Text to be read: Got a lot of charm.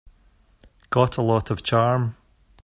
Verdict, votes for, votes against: accepted, 2, 0